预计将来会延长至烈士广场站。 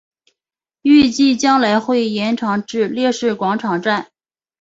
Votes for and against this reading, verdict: 2, 0, accepted